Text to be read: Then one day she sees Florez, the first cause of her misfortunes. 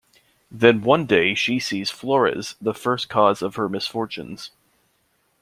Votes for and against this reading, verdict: 2, 0, accepted